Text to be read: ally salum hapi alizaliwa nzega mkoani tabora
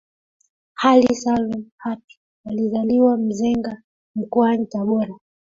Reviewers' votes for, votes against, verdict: 1, 2, rejected